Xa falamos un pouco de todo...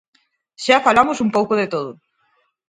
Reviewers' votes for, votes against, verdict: 4, 0, accepted